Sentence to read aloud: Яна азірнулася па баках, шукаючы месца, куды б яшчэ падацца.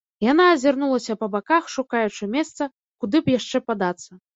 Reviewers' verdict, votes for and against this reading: accepted, 2, 0